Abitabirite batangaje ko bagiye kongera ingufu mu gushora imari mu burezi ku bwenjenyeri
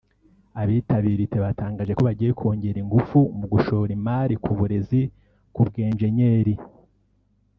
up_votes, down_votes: 1, 2